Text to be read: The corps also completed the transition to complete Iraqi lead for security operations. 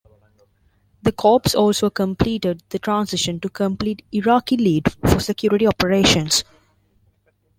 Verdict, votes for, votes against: rejected, 0, 2